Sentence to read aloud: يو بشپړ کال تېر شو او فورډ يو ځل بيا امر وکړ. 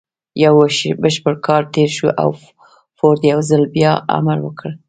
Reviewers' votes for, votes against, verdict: 3, 0, accepted